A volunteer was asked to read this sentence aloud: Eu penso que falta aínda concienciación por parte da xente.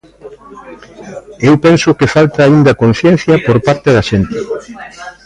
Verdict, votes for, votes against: rejected, 0, 2